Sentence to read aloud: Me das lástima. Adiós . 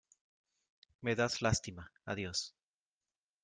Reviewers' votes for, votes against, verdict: 2, 0, accepted